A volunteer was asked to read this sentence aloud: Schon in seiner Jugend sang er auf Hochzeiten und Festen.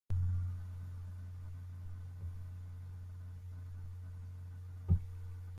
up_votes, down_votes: 0, 2